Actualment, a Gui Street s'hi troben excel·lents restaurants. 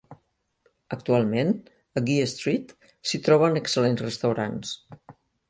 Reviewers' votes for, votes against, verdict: 2, 0, accepted